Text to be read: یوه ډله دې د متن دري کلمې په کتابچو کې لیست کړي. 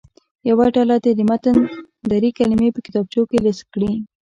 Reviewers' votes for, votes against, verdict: 1, 2, rejected